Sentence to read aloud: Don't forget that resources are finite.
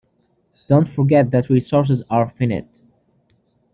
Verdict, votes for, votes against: rejected, 0, 2